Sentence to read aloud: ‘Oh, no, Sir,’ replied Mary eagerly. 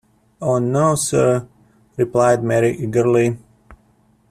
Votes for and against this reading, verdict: 2, 0, accepted